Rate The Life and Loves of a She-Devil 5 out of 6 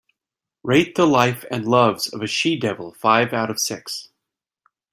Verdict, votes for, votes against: rejected, 0, 2